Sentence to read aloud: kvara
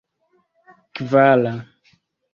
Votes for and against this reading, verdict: 1, 2, rejected